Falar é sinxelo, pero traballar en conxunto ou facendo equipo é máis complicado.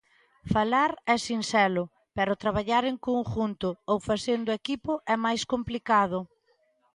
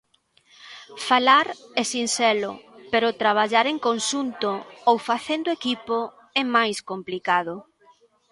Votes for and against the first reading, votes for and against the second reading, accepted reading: 0, 2, 3, 1, second